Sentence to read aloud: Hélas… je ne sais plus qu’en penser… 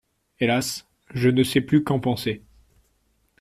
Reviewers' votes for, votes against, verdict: 2, 0, accepted